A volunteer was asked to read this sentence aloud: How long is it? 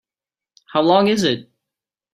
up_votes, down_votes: 3, 1